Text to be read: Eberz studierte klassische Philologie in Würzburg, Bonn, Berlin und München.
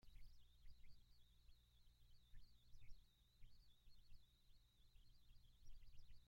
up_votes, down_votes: 0, 2